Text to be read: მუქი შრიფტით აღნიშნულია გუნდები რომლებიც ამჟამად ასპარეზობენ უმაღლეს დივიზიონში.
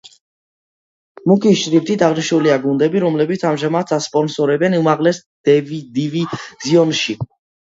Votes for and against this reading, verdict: 0, 2, rejected